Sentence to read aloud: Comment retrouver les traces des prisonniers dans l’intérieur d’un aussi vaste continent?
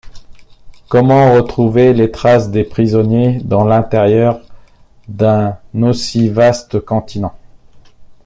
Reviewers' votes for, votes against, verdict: 2, 0, accepted